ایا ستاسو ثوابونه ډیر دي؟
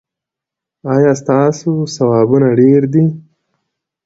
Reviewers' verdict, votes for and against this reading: accepted, 2, 0